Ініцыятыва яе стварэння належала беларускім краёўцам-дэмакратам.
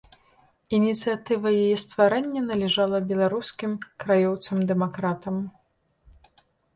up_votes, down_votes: 1, 2